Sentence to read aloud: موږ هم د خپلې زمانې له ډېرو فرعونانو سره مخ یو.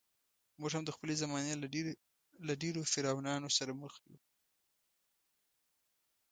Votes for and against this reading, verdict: 1, 2, rejected